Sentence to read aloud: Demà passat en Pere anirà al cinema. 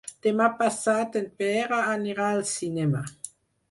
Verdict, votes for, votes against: rejected, 0, 4